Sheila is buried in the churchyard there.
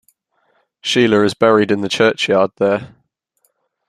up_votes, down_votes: 2, 0